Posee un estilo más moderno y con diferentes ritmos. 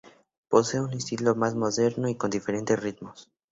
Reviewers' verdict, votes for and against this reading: accepted, 4, 0